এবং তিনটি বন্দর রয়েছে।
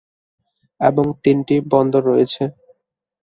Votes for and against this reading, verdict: 3, 0, accepted